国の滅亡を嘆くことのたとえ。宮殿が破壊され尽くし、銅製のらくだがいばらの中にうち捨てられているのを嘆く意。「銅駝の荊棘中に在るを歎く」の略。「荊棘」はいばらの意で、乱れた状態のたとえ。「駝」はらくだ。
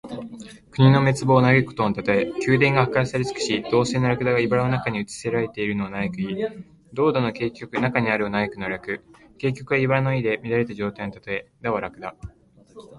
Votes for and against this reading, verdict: 2, 0, accepted